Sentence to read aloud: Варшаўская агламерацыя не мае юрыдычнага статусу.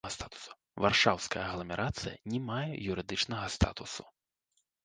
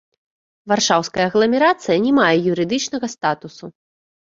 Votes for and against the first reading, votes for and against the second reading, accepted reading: 1, 2, 2, 0, second